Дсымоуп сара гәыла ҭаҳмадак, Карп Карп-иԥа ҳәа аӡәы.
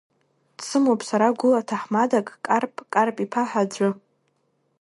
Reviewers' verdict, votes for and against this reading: rejected, 1, 2